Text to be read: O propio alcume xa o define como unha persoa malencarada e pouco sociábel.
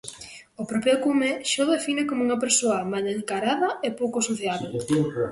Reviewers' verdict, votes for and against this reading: rejected, 1, 2